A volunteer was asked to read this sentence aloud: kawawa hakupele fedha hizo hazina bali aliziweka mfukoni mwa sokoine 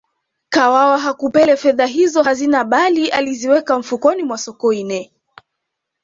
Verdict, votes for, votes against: accepted, 2, 0